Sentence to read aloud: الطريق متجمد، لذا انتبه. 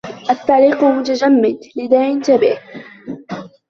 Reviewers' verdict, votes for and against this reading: rejected, 1, 2